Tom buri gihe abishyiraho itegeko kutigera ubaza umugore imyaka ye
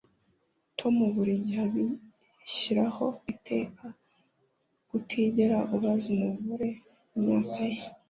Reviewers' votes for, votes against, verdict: 1, 2, rejected